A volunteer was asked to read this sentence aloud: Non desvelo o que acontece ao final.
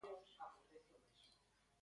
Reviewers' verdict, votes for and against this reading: rejected, 0, 2